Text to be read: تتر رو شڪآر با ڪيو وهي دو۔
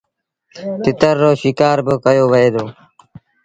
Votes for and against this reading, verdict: 2, 0, accepted